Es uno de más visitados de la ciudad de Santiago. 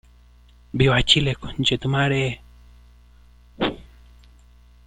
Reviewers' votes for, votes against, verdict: 0, 2, rejected